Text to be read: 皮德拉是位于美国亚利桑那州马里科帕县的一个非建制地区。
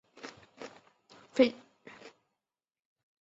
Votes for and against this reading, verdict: 0, 2, rejected